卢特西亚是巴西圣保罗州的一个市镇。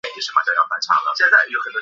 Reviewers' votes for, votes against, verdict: 1, 4, rejected